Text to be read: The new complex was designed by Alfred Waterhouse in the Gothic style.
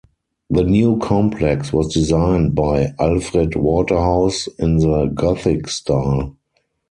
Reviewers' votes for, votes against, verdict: 2, 4, rejected